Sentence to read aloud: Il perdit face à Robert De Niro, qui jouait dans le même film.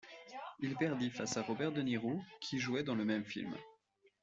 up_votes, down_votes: 2, 1